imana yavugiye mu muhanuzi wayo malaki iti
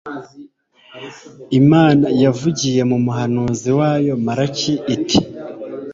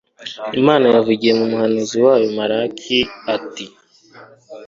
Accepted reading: first